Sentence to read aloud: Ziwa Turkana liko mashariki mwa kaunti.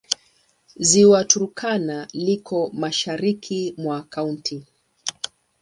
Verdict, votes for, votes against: accepted, 2, 0